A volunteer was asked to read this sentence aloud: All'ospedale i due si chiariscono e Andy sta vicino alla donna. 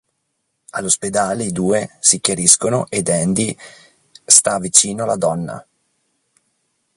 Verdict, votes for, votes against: rejected, 0, 2